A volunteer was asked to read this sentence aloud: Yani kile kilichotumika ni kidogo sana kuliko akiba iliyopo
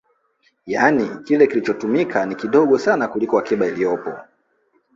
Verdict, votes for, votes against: rejected, 1, 2